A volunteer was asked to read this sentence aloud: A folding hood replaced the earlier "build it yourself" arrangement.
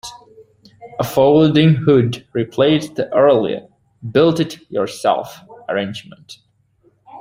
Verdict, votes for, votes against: accepted, 2, 0